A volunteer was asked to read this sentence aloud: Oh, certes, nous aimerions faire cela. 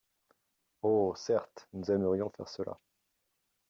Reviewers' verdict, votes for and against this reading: accepted, 2, 0